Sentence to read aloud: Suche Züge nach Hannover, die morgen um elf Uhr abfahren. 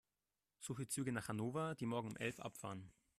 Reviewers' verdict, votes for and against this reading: rejected, 1, 2